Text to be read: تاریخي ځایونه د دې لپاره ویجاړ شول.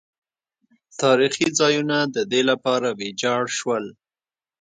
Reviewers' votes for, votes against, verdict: 2, 0, accepted